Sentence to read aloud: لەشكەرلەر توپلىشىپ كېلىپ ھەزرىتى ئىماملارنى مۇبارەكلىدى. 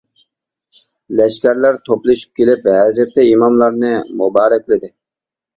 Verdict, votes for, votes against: accepted, 2, 0